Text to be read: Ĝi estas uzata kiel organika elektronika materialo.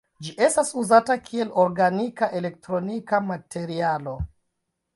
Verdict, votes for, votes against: rejected, 1, 2